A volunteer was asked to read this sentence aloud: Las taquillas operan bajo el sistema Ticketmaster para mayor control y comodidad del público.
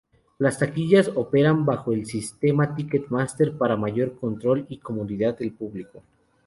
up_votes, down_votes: 2, 0